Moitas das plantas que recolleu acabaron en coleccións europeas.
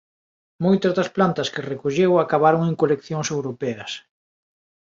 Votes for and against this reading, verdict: 2, 0, accepted